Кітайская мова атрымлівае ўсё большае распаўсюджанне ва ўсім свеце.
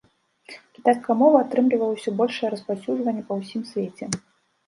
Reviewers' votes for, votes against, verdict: 0, 2, rejected